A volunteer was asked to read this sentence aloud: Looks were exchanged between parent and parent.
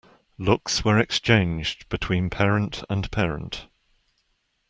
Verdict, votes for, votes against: accepted, 2, 0